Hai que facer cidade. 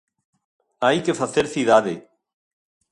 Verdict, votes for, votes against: accepted, 2, 0